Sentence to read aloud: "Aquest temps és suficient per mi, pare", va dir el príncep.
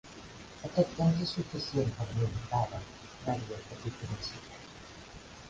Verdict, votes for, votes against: rejected, 1, 2